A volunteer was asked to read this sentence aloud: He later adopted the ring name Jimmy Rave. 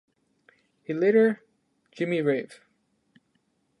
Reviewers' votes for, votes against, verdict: 0, 2, rejected